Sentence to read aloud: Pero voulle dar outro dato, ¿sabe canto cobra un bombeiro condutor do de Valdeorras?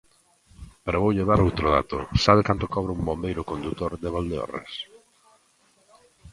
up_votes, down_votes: 0, 2